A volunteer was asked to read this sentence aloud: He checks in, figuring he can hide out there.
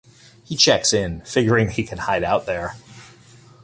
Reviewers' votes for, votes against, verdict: 2, 0, accepted